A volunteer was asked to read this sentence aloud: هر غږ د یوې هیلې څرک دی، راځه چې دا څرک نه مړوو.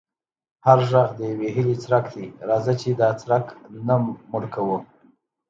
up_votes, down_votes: 2, 0